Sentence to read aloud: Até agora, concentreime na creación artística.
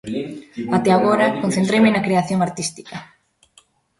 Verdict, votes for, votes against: rejected, 0, 2